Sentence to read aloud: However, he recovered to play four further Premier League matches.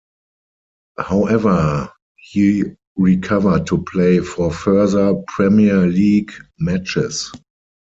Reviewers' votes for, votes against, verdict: 2, 4, rejected